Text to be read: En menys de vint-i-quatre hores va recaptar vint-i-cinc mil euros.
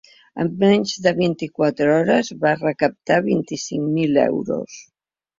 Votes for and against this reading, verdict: 3, 0, accepted